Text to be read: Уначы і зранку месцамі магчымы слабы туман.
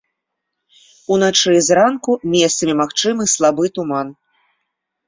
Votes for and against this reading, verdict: 2, 0, accepted